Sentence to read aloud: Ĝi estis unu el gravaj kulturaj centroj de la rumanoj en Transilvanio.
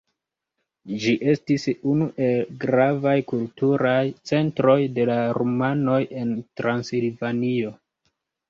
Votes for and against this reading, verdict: 1, 2, rejected